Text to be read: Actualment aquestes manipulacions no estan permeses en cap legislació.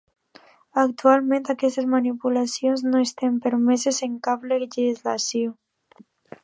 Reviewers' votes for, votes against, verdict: 2, 0, accepted